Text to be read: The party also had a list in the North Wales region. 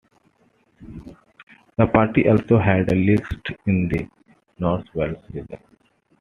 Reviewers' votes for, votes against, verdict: 0, 2, rejected